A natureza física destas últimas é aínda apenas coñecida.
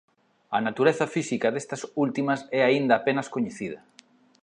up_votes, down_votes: 2, 0